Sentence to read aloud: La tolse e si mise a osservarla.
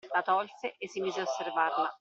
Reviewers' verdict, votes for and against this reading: rejected, 1, 2